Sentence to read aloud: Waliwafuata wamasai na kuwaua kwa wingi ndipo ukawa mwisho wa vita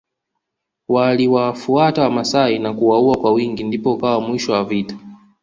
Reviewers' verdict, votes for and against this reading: accepted, 2, 0